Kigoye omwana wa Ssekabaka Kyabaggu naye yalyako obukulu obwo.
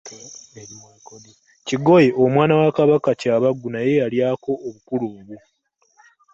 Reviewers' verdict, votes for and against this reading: rejected, 1, 2